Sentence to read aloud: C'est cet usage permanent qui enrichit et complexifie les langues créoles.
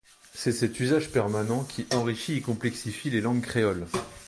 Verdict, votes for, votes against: accepted, 2, 0